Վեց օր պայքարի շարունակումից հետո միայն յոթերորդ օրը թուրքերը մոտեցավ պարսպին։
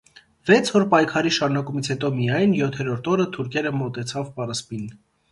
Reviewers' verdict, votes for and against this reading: accepted, 2, 0